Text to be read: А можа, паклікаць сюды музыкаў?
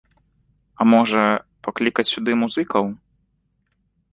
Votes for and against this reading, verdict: 2, 0, accepted